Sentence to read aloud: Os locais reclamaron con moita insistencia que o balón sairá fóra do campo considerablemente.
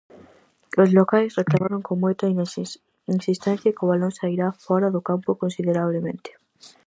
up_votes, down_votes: 0, 4